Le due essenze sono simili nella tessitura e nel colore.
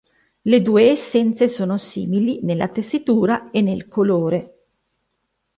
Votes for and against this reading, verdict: 2, 0, accepted